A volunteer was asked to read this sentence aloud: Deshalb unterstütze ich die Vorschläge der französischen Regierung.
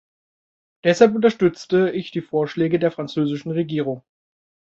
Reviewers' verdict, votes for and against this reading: rejected, 0, 2